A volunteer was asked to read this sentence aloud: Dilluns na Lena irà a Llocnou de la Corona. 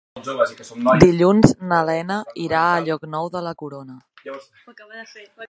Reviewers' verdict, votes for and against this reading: rejected, 0, 3